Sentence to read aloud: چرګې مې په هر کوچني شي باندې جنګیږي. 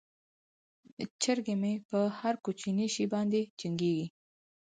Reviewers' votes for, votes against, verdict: 4, 0, accepted